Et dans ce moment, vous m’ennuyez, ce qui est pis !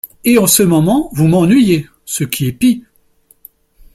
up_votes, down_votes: 1, 2